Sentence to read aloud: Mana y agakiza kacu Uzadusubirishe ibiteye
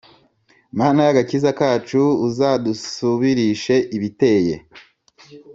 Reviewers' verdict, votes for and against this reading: accepted, 3, 0